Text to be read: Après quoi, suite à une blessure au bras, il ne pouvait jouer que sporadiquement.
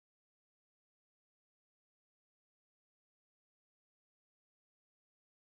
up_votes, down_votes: 0, 4